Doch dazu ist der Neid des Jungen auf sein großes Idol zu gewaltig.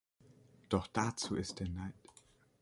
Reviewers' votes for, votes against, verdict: 0, 2, rejected